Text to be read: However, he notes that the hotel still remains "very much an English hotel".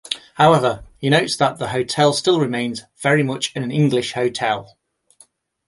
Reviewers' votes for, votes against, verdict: 2, 0, accepted